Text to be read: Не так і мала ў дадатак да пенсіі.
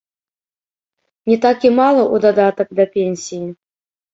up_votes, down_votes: 1, 3